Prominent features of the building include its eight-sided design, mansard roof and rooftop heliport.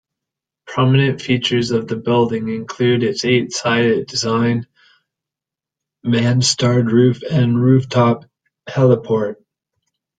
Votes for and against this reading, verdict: 0, 2, rejected